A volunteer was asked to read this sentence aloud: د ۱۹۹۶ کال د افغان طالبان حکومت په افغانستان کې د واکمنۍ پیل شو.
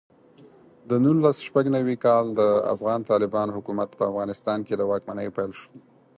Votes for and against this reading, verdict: 0, 2, rejected